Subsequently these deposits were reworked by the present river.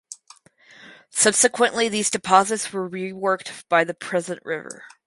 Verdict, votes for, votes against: rejected, 2, 2